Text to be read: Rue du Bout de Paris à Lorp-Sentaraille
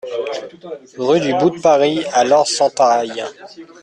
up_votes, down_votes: 2, 1